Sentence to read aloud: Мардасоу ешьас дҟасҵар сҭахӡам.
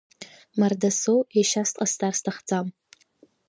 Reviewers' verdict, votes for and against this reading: accepted, 2, 0